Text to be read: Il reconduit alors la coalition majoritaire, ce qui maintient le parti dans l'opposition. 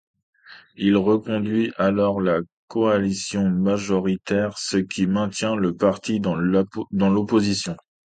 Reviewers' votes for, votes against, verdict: 0, 2, rejected